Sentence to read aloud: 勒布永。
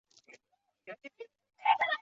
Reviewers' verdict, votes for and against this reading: rejected, 1, 2